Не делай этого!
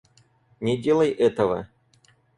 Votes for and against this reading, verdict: 4, 0, accepted